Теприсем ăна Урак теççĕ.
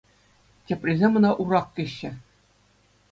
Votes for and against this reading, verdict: 2, 0, accepted